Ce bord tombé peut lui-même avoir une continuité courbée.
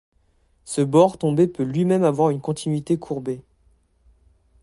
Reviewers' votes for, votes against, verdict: 2, 0, accepted